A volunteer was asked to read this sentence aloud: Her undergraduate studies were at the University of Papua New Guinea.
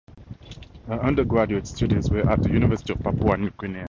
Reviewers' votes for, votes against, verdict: 4, 0, accepted